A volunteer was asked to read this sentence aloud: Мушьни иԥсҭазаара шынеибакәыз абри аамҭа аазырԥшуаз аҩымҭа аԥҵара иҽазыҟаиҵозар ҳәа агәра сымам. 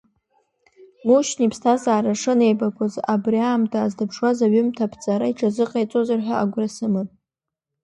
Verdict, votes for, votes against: accepted, 2, 0